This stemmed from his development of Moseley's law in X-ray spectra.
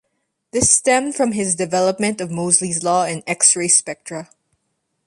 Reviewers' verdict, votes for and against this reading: accepted, 2, 0